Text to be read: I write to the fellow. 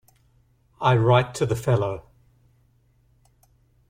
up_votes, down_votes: 2, 0